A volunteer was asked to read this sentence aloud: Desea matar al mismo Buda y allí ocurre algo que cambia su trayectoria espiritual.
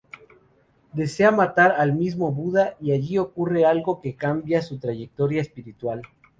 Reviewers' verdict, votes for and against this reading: accepted, 2, 0